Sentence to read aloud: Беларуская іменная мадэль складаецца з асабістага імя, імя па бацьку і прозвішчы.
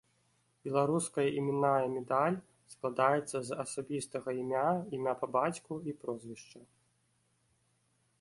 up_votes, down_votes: 0, 2